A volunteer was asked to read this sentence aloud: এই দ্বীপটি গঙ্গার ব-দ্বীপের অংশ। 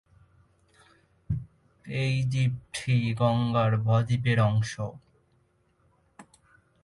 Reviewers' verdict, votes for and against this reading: rejected, 0, 2